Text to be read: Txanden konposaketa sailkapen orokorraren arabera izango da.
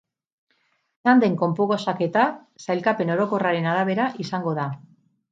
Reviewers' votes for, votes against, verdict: 0, 4, rejected